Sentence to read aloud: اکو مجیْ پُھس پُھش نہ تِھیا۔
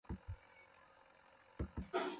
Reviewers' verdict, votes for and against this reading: rejected, 0, 2